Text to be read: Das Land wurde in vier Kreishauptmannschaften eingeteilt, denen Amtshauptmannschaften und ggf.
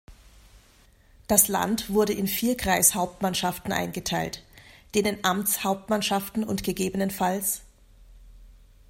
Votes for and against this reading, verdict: 2, 0, accepted